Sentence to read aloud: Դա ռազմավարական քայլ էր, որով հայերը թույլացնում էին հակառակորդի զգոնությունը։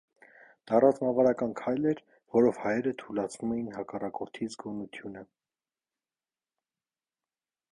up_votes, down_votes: 2, 0